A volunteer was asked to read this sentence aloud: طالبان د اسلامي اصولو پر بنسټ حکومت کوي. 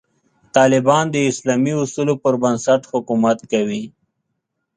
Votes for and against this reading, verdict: 2, 0, accepted